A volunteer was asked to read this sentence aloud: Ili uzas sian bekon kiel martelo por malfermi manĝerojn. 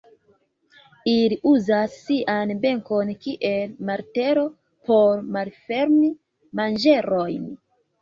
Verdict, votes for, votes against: rejected, 1, 2